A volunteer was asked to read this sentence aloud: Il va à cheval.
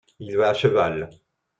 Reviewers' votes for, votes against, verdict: 2, 0, accepted